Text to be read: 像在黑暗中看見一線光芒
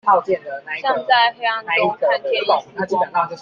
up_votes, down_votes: 0, 2